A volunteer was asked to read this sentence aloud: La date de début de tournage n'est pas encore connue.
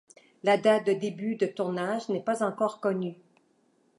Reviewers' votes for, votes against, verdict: 2, 0, accepted